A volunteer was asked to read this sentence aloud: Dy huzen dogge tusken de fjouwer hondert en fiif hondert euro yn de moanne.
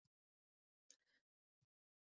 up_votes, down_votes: 0, 2